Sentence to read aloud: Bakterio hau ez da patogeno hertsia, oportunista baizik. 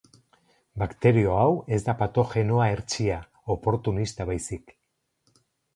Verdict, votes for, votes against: rejected, 0, 2